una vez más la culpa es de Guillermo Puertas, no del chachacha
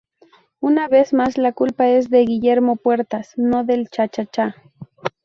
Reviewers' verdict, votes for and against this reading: accepted, 2, 0